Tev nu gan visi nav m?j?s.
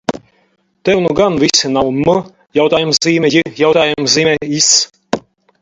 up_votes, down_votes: 0, 4